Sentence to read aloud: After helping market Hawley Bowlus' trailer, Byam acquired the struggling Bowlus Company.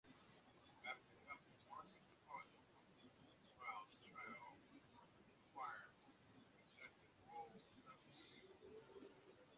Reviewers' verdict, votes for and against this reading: rejected, 0, 2